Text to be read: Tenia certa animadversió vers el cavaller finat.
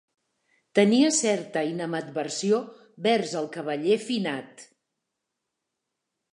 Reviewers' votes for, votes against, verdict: 1, 2, rejected